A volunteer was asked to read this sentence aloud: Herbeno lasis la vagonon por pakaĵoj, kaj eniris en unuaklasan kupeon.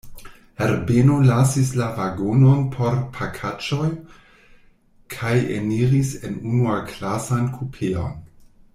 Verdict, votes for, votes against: rejected, 1, 2